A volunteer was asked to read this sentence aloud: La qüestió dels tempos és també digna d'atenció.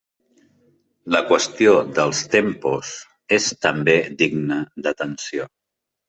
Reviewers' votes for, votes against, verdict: 3, 0, accepted